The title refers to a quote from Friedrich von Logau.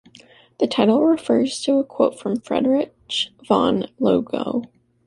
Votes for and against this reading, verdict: 2, 1, accepted